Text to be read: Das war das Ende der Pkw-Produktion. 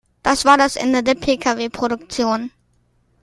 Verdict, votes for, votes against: accepted, 2, 0